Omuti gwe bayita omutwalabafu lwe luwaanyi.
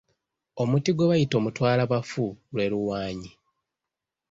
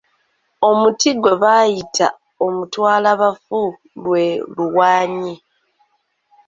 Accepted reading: second